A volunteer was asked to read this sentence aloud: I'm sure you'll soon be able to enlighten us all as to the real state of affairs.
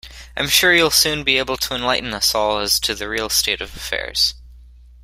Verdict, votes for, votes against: accepted, 2, 0